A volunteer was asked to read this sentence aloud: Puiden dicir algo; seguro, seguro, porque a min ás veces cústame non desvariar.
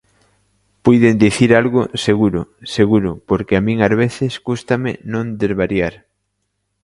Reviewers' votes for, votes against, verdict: 2, 0, accepted